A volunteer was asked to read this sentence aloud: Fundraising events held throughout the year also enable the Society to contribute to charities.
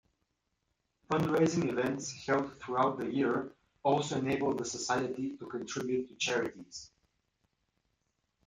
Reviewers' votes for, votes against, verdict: 0, 2, rejected